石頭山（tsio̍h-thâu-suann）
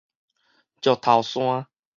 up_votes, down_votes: 4, 0